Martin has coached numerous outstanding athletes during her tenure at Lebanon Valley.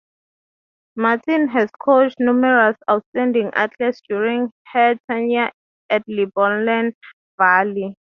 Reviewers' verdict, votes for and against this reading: rejected, 0, 3